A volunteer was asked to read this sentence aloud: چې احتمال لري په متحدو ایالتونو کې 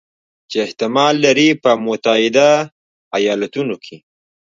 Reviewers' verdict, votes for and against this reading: rejected, 1, 2